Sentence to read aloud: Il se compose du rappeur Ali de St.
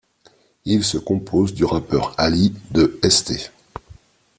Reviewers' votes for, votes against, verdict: 2, 0, accepted